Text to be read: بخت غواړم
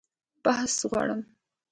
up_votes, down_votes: 2, 0